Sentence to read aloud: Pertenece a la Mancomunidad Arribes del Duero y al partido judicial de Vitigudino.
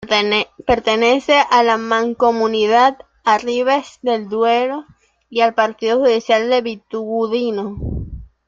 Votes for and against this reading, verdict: 0, 2, rejected